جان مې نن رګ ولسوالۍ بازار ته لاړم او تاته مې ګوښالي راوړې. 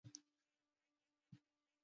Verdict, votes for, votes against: rejected, 0, 2